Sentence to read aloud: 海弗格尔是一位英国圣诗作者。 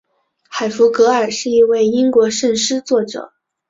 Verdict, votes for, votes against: accepted, 4, 0